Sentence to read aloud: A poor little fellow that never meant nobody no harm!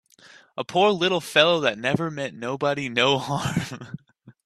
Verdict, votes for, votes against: accepted, 2, 0